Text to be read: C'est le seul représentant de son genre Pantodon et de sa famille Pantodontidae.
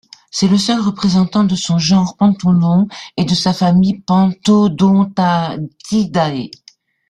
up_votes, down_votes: 1, 2